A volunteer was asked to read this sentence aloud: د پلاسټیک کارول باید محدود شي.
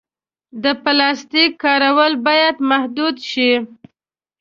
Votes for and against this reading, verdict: 2, 0, accepted